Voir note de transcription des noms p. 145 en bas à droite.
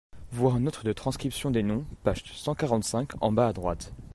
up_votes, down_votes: 0, 2